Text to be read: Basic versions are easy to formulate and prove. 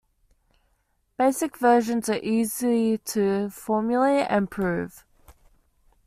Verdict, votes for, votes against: accepted, 2, 0